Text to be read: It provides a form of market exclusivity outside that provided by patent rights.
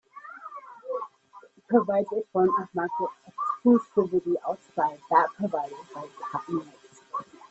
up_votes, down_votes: 1, 2